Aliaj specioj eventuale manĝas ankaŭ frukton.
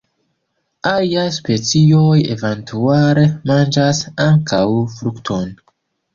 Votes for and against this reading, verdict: 3, 1, accepted